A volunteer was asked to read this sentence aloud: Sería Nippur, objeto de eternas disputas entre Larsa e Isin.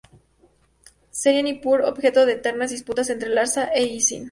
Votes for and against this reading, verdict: 2, 2, rejected